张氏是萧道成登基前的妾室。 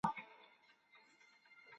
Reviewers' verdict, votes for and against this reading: rejected, 0, 2